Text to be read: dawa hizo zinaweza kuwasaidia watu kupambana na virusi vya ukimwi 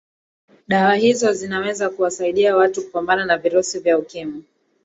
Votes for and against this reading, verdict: 2, 1, accepted